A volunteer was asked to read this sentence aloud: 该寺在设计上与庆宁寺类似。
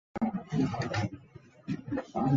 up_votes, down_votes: 0, 2